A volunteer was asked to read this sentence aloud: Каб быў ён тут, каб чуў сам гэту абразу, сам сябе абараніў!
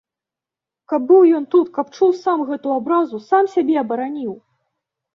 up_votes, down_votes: 2, 0